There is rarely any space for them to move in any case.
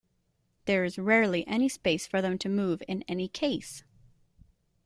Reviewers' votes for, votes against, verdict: 2, 0, accepted